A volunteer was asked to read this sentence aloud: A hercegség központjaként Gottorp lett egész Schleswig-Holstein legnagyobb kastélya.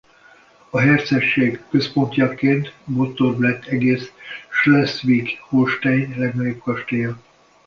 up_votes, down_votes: 1, 2